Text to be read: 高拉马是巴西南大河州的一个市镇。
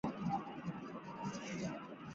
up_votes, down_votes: 2, 1